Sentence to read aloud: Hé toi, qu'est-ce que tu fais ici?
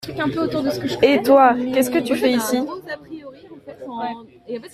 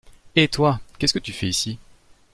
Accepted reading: second